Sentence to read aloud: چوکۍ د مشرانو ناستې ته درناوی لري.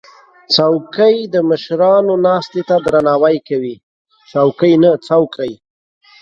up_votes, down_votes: 0, 2